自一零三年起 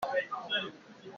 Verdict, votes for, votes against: rejected, 0, 2